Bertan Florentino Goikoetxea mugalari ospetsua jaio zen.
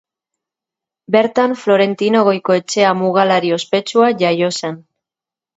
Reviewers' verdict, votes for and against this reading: accepted, 2, 0